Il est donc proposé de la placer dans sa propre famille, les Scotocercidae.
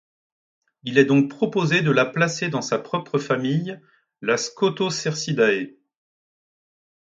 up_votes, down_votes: 1, 2